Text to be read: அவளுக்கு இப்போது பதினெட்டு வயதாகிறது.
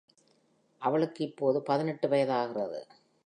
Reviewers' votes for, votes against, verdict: 2, 0, accepted